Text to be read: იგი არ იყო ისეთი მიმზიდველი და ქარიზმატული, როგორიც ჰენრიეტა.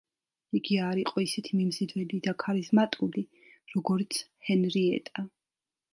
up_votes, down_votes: 2, 0